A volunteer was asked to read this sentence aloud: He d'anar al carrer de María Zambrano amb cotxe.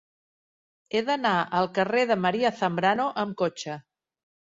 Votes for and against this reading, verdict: 2, 0, accepted